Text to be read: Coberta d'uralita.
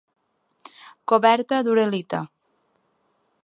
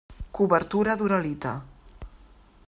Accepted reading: first